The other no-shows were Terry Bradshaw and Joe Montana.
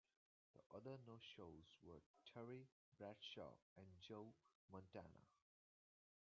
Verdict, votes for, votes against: rejected, 0, 2